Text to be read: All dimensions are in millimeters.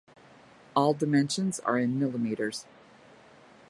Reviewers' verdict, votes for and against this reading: accepted, 2, 0